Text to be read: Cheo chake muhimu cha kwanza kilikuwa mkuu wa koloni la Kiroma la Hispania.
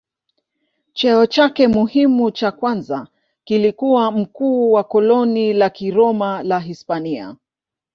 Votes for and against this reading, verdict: 2, 0, accepted